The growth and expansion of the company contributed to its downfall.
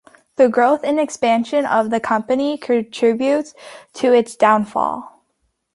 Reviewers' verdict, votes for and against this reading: rejected, 0, 2